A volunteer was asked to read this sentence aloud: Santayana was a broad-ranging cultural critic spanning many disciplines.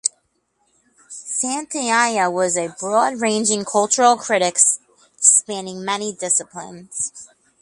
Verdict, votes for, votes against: rejected, 0, 2